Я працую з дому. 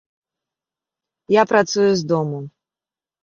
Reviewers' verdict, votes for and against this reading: accepted, 2, 0